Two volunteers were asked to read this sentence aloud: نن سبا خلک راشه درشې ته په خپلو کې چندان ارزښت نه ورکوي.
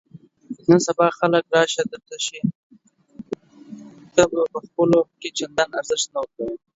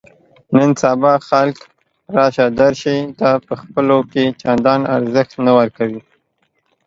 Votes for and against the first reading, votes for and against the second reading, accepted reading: 1, 2, 2, 0, second